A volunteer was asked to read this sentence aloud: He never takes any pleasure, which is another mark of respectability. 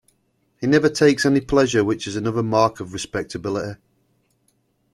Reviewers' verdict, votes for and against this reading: accepted, 2, 0